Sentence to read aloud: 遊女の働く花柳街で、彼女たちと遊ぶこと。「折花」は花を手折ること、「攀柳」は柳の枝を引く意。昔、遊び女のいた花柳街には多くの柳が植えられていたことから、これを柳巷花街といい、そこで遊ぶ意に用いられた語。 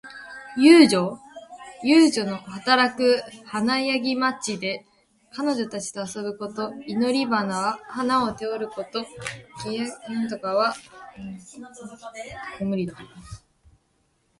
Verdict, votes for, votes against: rejected, 0, 2